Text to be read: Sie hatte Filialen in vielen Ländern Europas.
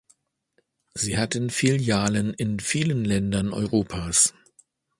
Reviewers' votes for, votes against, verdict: 0, 2, rejected